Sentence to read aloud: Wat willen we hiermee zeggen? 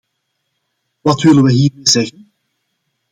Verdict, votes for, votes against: rejected, 0, 2